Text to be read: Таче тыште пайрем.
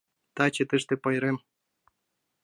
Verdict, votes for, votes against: accepted, 2, 0